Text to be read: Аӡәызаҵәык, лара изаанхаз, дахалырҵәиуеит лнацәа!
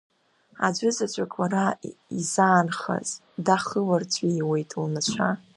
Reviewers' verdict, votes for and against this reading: rejected, 1, 2